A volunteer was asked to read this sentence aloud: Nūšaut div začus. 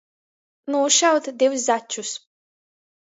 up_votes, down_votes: 2, 0